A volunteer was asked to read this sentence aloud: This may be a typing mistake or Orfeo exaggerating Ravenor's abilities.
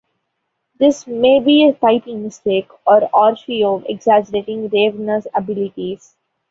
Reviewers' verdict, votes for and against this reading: accepted, 2, 0